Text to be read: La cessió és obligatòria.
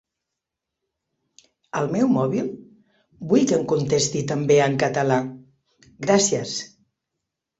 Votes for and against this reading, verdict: 0, 2, rejected